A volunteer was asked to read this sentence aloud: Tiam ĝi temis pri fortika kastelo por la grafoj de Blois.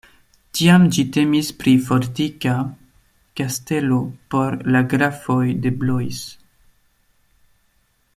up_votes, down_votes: 2, 0